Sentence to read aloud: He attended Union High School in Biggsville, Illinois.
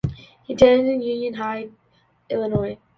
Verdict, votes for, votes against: rejected, 0, 2